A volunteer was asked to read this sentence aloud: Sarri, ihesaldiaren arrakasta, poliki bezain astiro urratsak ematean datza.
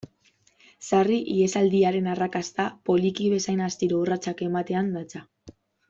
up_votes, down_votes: 2, 0